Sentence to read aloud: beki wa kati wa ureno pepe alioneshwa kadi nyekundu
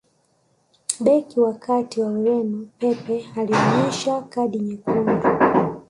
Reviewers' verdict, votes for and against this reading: accepted, 2, 0